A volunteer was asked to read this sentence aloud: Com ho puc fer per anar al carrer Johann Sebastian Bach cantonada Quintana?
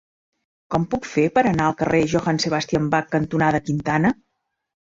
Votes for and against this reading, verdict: 1, 2, rejected